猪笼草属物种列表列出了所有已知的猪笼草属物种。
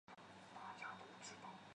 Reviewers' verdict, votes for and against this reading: rejected, 0, 2